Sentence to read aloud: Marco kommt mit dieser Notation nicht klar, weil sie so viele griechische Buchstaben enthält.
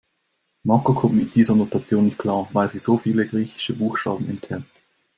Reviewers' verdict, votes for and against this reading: accepted, 2, 0